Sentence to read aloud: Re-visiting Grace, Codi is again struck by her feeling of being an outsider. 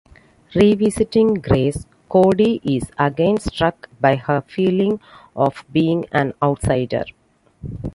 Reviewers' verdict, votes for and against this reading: accepted, 2, 0